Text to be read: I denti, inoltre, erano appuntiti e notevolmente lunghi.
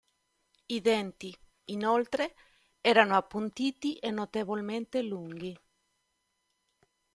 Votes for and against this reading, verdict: 2, 0, accepted